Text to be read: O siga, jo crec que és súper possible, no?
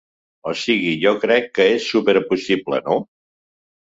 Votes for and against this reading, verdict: 1, 2, rejected